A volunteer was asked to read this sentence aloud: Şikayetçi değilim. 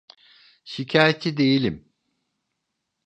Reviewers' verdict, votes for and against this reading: accepted, 2, 0